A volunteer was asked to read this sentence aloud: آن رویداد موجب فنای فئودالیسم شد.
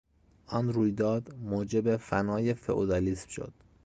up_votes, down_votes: 2, 0